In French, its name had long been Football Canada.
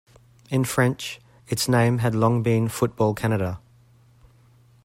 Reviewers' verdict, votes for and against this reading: accepted, 2, 0